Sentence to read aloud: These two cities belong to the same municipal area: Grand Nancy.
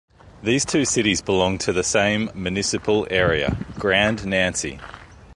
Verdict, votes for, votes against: accepted, 2, 0